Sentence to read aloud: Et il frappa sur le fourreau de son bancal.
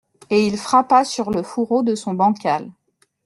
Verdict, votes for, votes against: accepted, 2, 0